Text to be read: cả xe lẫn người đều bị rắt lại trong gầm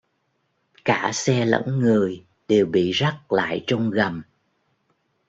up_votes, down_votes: 2, 0